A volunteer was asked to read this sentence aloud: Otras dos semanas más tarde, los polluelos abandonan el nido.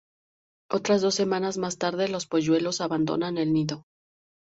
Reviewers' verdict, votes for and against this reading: accepted, 2, 0